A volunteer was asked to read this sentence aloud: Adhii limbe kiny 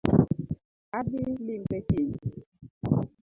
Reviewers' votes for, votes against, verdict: 0, 2, rejected